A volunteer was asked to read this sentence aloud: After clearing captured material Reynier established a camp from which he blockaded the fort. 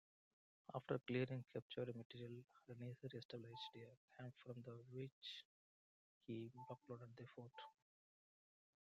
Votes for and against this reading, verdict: 0, 2, rejected